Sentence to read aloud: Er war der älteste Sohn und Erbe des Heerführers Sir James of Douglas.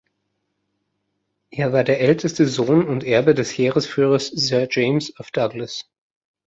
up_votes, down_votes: 1, 2